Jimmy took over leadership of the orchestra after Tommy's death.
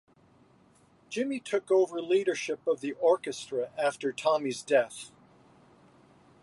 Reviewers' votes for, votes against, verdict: 2, 0, accepted